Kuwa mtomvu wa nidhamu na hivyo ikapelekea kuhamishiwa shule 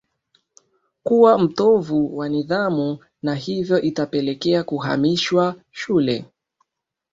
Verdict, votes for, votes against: rejected, 2, 3